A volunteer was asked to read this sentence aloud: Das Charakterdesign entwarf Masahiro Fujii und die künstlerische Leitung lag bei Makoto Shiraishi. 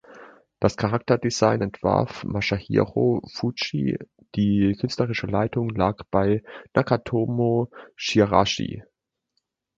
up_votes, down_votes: 1, 2